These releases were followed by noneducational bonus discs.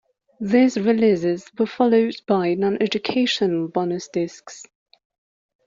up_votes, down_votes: 2, 0